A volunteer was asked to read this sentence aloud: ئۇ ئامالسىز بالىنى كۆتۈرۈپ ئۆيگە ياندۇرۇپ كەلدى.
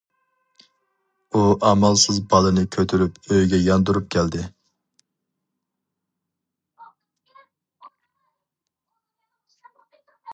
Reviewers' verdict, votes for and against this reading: rejected, 2, 2